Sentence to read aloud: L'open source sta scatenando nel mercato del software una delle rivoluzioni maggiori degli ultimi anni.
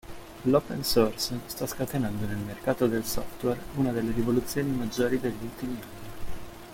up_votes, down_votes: 2, 1